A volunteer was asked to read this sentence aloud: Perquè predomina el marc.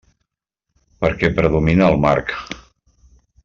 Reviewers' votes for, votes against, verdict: 2, 0, accepted